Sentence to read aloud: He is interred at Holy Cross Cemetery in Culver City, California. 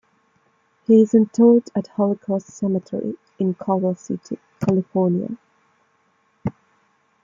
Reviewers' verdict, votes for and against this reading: rejected, 1, 2